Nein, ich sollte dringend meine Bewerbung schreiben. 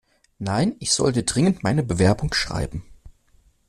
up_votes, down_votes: 2, 0